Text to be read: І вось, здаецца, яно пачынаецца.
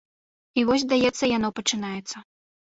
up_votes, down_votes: 2, 0